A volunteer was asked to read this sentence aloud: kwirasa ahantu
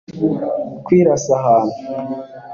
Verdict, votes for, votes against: accepted, 2, 0